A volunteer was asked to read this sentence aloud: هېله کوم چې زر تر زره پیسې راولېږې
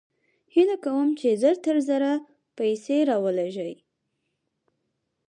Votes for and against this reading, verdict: 4, 0, accepted